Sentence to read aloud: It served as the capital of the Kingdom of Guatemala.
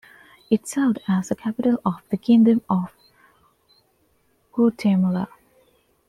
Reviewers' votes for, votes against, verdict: 0, 2, rejected